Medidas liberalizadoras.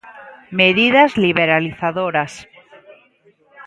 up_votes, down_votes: 2, 0